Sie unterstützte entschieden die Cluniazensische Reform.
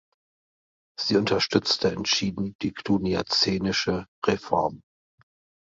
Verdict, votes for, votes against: rejected, 0, 2